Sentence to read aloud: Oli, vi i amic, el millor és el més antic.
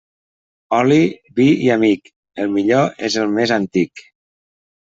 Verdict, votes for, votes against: accepted, 3, 0